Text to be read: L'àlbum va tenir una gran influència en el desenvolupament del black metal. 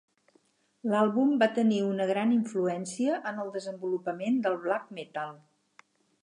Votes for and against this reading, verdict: 6, 0, accepted